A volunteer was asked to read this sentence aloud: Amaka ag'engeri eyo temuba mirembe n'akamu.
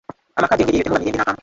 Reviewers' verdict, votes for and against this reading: rejected, 0, 2